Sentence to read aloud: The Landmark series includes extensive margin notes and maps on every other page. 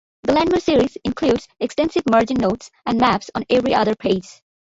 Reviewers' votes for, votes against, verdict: 2, 1, accepted